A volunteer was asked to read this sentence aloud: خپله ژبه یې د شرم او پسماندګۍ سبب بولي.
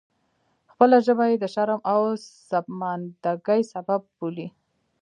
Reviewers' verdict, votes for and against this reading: rejected, 1, 2